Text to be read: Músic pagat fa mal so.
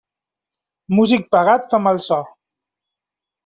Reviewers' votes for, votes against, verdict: 3, 0, accepted